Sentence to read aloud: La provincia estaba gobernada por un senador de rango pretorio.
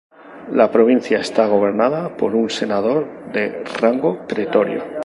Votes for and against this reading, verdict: 0, 2, rejected